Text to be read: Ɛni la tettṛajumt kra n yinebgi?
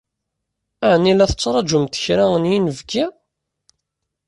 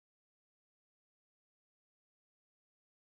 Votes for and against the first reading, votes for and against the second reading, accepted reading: 2, 0, 0, 2, first